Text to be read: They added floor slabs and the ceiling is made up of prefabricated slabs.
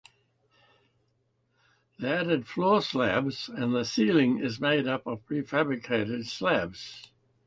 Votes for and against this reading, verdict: 2, 0, accepted